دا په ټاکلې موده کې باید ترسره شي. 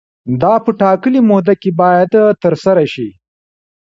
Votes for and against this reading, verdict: 1, 2, rejected